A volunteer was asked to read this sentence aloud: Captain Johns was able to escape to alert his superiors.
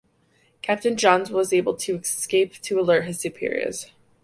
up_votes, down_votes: 2, 0